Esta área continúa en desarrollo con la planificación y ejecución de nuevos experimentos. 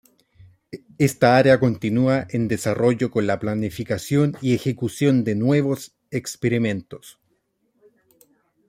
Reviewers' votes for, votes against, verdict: 2, 1, accepted